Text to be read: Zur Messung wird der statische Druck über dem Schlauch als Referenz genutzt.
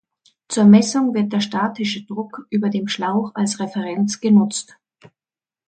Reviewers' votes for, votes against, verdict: 2, 0, accepted